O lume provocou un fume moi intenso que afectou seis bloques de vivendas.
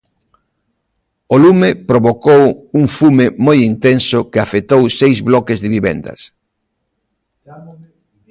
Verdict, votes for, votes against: rejected, 1, 2